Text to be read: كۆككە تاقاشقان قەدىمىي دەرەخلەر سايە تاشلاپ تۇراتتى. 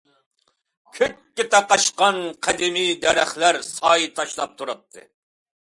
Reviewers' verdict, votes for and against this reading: accepted, 2, 0